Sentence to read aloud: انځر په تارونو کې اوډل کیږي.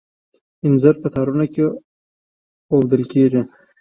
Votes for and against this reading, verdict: 2, 0, accepted